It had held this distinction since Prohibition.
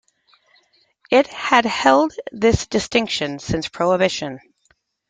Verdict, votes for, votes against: accepted, 2, 1